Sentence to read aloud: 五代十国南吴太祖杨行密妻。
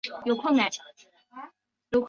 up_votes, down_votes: 0, 3